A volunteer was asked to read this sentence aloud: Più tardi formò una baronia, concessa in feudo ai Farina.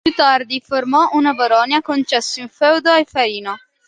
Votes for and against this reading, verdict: 1, 2, rejected